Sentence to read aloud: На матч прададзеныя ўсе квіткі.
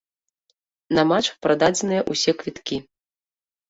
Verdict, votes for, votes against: accepted, 2, 0